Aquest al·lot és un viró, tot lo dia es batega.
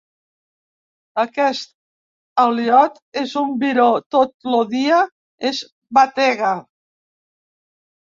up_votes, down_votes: 0, 2